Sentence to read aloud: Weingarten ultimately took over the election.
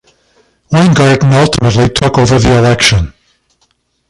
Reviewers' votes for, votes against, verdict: 1, 2, rejected